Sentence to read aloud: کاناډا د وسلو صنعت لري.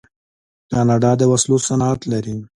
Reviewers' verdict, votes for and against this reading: accepted, 2, 0